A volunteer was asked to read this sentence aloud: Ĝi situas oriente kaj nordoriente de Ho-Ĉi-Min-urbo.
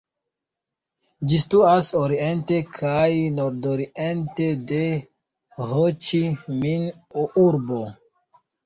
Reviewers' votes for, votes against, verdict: 0, 2, rejected